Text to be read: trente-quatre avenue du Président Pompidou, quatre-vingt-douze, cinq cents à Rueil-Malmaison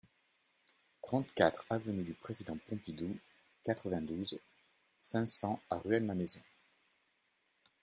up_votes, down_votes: 2, 0